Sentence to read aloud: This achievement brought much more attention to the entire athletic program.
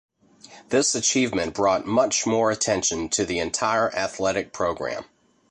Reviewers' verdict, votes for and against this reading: accepted, 2, 0